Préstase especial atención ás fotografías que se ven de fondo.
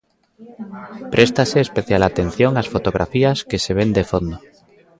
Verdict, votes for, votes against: accepted, 2, 0